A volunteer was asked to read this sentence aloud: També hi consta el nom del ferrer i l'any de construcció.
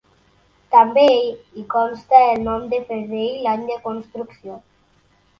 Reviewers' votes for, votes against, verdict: 1, 3, rejected